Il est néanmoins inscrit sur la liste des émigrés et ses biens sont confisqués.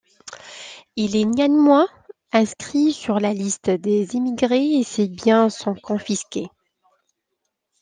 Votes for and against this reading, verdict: 0, 2, rejected